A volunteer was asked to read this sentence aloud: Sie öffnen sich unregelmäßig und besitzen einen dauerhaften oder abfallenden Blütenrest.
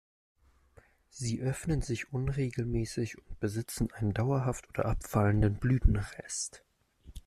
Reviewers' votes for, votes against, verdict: 0, 2, rejected